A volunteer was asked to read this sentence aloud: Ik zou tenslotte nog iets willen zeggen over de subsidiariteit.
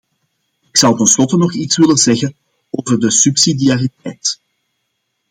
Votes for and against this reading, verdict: 2, 0, accepted